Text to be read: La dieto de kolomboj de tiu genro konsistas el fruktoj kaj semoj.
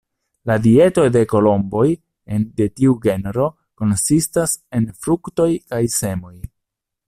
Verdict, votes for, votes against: rejected, 1, 2